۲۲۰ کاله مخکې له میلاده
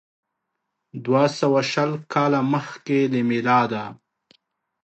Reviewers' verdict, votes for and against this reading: rejected, 0, 2